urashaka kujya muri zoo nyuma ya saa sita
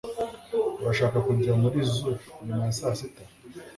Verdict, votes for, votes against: accepted, 2, 0